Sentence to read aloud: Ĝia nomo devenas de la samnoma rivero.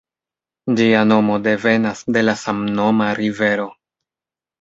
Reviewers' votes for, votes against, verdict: 2, 0, accepted